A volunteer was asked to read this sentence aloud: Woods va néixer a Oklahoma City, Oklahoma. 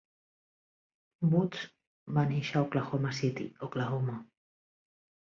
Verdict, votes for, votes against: accepted, 2, 0